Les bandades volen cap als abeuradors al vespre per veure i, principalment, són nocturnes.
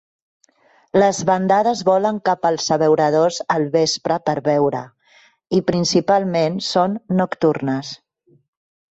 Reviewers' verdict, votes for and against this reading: accepted, 3, 1